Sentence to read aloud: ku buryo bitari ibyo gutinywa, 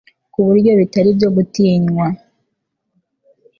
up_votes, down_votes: 3, 0